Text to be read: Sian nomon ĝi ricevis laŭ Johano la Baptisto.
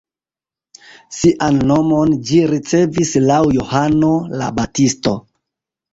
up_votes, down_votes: 1, 2